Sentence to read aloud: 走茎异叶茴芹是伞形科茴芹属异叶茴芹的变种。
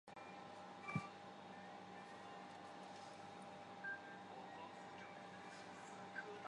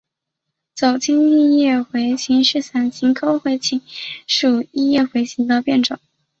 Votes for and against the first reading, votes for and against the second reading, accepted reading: 2, 3, 3, 0, second